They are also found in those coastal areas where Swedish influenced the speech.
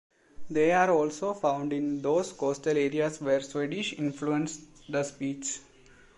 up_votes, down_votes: 2, 0